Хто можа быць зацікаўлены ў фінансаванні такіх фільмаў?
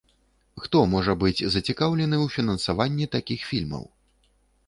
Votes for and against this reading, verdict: 2, 0, accepted